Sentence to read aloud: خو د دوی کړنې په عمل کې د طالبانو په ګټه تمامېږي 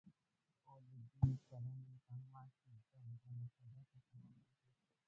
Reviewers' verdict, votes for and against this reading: rejected, 0, 2